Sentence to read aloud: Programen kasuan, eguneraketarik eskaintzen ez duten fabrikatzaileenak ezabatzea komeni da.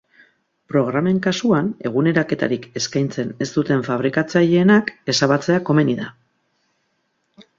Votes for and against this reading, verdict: 8, 2, accepted